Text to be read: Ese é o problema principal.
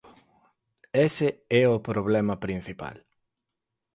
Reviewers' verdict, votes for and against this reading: accepted, 6, 0